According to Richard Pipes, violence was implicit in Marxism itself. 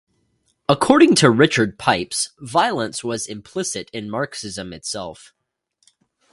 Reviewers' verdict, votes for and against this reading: accepted, 2, 0